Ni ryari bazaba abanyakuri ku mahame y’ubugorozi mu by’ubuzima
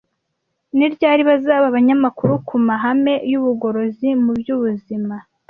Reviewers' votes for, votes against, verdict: 1, 2, rejected